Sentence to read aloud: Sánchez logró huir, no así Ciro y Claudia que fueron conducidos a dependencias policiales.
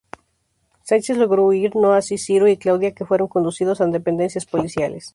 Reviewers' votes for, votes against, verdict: 0, 2, rejected